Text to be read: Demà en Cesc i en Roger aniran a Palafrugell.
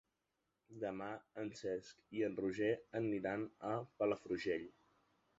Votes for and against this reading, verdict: 0, 2, rejected